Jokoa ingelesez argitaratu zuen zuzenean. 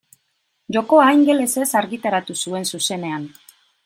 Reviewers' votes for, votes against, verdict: 2, 0, accepted